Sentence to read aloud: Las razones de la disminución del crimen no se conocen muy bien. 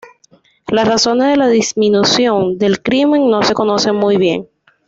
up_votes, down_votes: 2, 0